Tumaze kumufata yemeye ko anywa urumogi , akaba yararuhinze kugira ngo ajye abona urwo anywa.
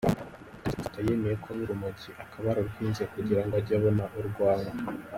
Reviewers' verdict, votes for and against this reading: rejected, 1, 2